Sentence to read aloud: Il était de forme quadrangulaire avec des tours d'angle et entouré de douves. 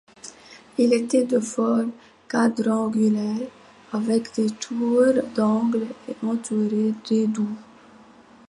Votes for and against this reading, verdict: 2, 1, accepted